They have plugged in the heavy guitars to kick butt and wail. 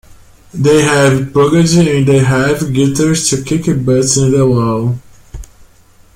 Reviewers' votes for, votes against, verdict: 0, 2, rejected